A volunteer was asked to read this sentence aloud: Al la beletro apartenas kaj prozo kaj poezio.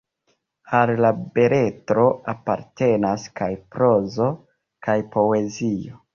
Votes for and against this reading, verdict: 2, 0, accepted